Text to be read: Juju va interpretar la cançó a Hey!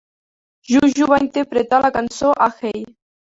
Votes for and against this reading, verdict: 0, 3, rejected